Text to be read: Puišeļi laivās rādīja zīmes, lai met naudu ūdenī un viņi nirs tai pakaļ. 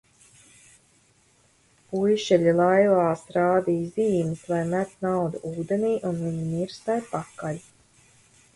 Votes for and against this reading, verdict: 2, 1, accepted